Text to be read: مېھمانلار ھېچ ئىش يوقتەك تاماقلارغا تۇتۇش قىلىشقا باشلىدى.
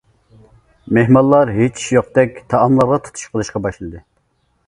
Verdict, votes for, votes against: rejected, 0, 2